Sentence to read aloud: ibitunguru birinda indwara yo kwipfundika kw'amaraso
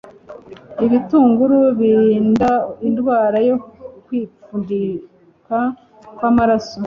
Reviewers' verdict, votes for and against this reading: rejected, 1, 2